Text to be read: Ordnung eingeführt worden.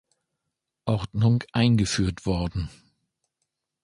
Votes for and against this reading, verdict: 2, 0, accepted